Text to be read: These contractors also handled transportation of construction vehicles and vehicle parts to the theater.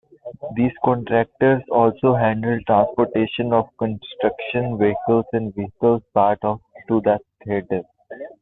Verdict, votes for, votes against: rejected, 0, 2